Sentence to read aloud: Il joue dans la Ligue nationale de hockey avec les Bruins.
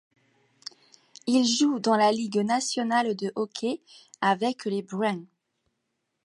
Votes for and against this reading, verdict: 2, 1, accepted